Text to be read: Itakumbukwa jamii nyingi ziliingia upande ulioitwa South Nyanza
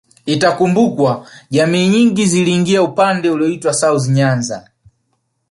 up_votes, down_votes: 2, 0